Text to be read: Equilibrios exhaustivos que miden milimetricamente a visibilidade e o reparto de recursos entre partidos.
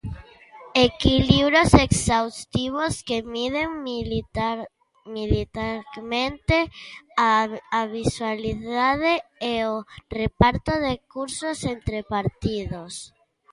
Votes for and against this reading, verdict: 0, 2, rejected